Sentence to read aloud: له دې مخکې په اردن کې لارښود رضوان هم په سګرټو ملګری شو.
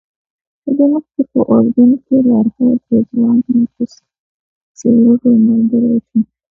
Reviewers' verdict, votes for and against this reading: accepted, 2, 0